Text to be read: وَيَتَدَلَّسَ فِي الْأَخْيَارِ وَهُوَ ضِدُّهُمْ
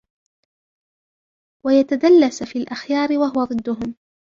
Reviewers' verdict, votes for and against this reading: rejected, 1, 2